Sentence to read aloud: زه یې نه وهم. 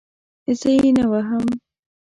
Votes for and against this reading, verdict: 2, 0, accepted